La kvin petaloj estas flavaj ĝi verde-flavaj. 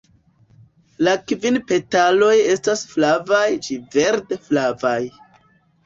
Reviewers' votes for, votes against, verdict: 2, 1, accepted